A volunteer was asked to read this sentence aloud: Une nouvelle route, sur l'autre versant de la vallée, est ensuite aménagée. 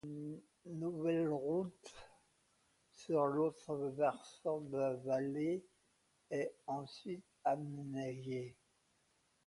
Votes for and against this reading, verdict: 0, 2, rejected